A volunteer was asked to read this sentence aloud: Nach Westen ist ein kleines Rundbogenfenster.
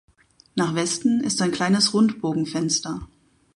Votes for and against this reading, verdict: 2, 2, rejected